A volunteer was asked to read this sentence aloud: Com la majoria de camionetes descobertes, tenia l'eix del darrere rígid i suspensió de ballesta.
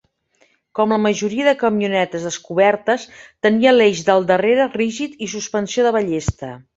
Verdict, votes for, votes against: accepted, 3, 0